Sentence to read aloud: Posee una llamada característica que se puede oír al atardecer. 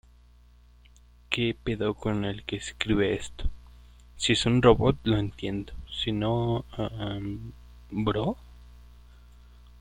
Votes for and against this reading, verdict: 0, 2, rejected